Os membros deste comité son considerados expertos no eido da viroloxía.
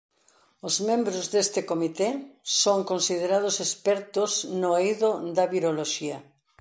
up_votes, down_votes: 2, 0